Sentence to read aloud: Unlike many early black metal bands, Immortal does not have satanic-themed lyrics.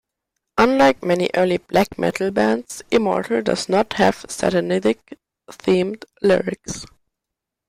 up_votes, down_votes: 0, 2